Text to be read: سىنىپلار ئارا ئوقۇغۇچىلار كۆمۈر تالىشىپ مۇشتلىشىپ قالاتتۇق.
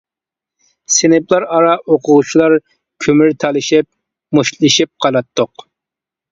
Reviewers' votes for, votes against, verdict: 2, 0, accepted